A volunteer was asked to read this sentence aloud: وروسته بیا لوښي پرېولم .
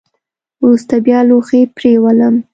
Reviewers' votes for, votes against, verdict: 2, 0, accepted